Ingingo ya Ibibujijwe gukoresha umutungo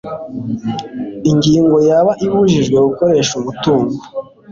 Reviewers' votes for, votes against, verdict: 2, 1, accepted